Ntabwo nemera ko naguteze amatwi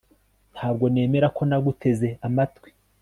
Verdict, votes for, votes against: accepted, 2, 0